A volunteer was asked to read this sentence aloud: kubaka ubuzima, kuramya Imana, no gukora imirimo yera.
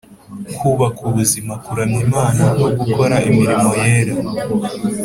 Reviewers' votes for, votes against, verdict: 4, 0, accepted